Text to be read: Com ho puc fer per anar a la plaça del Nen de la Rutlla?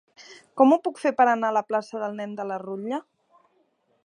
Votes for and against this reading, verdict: 2, 0, accepted